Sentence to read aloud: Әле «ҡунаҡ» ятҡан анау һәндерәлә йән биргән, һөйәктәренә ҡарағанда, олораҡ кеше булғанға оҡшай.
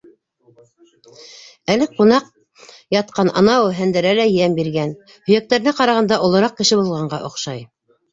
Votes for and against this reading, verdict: 1, 2, rejected